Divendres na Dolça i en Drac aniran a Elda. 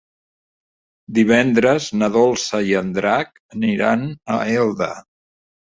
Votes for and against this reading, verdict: 0, 2, rejected